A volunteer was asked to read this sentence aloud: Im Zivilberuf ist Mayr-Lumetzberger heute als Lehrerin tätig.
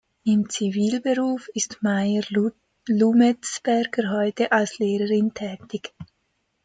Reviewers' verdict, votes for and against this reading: rejected, 1, 2